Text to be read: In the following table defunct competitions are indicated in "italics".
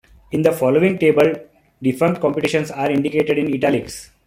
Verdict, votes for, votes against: accepted, 2, 0